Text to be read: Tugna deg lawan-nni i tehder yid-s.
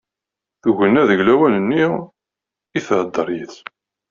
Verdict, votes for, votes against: rejected, 1, 2